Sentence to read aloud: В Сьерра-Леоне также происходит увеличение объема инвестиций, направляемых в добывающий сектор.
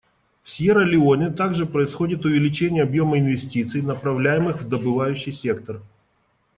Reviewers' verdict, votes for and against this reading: accepted, 2, 0